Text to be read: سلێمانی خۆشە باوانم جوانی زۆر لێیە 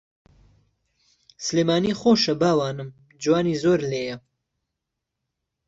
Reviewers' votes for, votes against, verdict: 2, 0, accepted